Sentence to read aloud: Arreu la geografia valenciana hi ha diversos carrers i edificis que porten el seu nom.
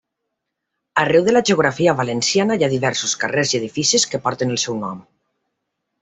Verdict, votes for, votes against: accepted, 2, 0